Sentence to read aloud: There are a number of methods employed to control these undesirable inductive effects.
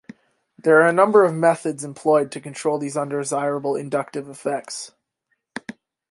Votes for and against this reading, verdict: 2, 0, accepted